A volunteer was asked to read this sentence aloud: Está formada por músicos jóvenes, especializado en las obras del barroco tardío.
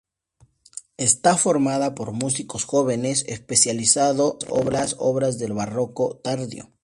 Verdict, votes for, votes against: rejected, 0, 2